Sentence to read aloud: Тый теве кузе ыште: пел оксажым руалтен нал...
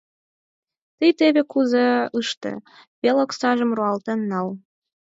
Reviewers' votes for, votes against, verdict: 0, 4, rejected